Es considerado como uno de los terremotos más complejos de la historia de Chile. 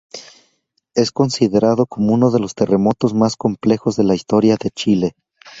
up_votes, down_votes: 2, 0